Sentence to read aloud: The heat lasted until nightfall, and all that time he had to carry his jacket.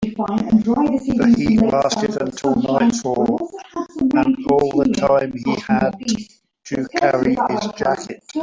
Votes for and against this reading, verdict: 2, 1, accepted